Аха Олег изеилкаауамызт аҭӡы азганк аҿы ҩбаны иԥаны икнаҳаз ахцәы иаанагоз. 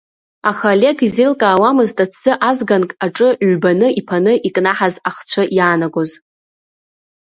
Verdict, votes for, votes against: accepted, 3, 0